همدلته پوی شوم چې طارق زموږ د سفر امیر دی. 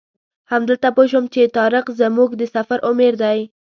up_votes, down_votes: 1, 2